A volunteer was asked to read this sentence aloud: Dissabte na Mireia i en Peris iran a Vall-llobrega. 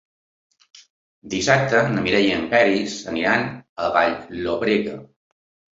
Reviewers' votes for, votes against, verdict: 2, 1, accepted